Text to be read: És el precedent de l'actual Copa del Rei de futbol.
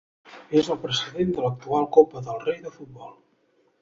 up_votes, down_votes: 1, 2